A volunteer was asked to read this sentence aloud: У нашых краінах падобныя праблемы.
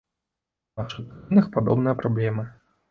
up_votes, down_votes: 1, 2